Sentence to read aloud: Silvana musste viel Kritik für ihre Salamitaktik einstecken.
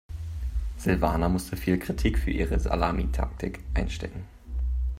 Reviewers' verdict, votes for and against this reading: accepted, 3, 0